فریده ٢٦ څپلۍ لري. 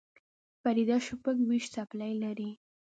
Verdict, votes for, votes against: rejected, 0, 2